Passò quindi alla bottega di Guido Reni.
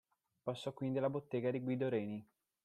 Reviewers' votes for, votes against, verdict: 2, 0, accepted